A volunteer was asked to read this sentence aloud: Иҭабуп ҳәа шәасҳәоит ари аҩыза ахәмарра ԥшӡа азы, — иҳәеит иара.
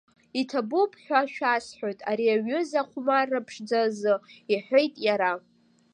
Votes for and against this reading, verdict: 1, 2, rejected